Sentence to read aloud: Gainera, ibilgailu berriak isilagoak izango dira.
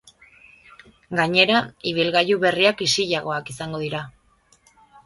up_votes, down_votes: 2, 0